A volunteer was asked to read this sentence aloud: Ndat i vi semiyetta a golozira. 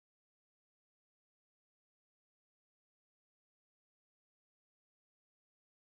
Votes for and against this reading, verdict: 0, 2, rejected